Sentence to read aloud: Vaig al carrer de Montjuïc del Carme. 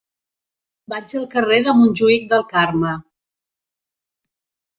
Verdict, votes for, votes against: accepted, 2, 0